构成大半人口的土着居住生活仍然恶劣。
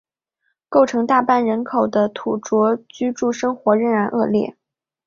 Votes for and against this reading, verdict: 6, 1, accepted